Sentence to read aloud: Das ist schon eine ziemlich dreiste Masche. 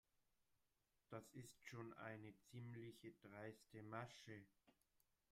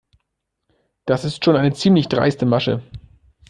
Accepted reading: second